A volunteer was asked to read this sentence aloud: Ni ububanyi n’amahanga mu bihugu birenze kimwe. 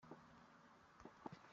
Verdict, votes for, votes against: rejected, 0, 2